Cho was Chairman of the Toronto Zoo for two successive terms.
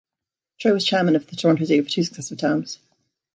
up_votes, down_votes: 1, 2